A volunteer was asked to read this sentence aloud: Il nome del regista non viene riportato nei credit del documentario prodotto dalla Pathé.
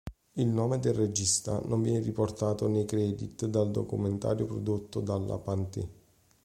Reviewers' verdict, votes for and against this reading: rejected, 1, 2